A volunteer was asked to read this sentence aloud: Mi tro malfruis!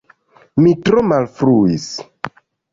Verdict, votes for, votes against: accepted, 2, 0